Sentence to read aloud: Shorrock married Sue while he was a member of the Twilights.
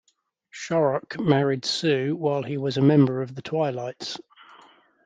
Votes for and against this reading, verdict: 2, 0, accepted